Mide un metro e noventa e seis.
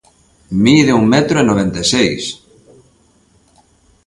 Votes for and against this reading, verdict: 2, 0, accepted